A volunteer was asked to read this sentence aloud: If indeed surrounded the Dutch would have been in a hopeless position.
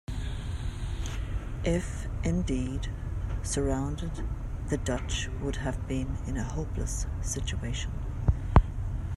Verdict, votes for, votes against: rejected, 1, 2